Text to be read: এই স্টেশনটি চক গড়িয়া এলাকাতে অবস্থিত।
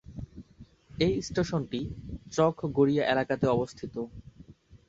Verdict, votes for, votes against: accepted, 5, 1